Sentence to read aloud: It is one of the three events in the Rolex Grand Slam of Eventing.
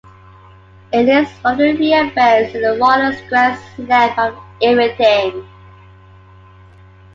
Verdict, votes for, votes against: rejected, 1, 2